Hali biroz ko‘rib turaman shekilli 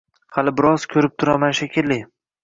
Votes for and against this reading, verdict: 2, 0, accepted